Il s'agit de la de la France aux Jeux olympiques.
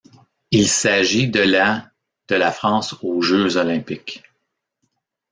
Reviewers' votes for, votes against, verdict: 2, 0, accepted